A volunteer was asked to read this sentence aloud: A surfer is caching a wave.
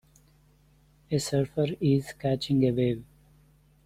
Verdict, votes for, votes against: rejected, 1, 2